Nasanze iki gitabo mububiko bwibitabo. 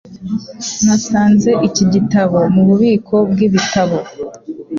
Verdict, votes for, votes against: accepted, 2, 0